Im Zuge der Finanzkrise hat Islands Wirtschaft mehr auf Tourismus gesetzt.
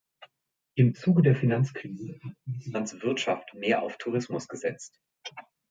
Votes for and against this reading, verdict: 1, 2, rejected